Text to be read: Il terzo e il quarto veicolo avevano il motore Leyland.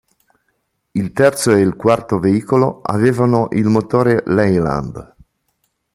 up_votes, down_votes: 2, 0